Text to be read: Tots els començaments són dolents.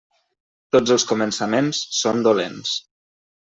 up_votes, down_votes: 3, 0